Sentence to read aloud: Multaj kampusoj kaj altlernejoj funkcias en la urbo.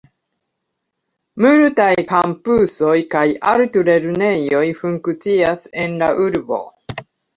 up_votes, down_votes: 2, 0